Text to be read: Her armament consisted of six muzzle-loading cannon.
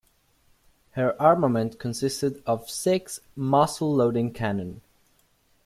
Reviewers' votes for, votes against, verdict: 2, 1, accepted